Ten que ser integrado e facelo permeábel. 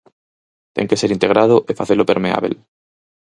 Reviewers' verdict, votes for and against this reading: accepted, 4, 0